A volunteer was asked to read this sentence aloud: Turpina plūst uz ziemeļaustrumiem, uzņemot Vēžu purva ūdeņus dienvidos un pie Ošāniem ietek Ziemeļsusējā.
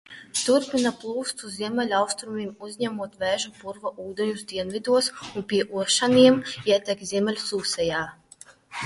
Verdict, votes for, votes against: rejected, 0, 2